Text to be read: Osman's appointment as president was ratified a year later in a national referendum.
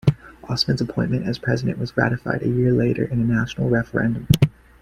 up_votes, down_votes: 1, 2